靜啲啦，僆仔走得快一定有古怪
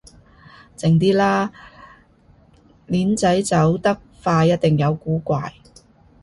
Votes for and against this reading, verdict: 0, 2, rejected